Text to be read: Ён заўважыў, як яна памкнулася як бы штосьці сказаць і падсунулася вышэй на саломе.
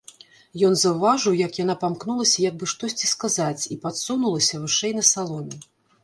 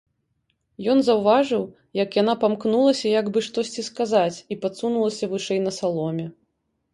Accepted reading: second